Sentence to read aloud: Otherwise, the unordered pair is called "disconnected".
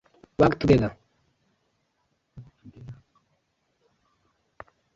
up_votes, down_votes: 0, 4